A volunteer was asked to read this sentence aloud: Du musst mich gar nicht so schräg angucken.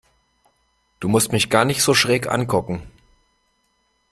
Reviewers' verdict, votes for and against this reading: accepted, 2, 0